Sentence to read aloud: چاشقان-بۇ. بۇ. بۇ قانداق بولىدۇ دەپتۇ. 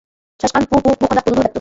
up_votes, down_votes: 0, 2